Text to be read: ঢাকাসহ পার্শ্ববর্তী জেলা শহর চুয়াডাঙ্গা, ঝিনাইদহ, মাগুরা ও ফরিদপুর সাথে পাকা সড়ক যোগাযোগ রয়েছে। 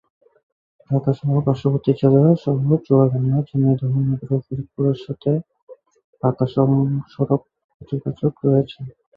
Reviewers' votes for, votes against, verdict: 4, 17, rejected